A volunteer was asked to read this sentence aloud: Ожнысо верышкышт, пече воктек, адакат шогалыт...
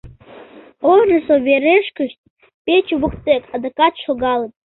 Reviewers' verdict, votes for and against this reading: rejected, 1, 3